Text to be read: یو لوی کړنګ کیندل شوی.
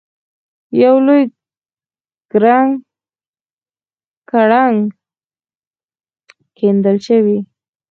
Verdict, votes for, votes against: accepted, 4, 0